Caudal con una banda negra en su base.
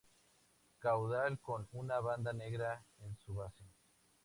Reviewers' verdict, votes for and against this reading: accepted, 4, 2